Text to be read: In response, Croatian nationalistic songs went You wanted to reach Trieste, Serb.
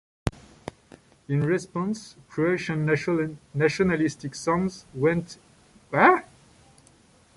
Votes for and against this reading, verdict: 1, 2, rejected